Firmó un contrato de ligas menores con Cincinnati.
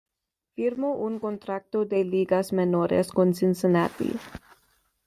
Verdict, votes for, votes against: accepted, 2, 0